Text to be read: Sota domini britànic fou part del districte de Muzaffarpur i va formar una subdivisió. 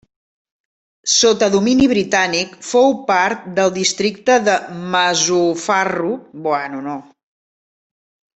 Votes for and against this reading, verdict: 0, 2, rejected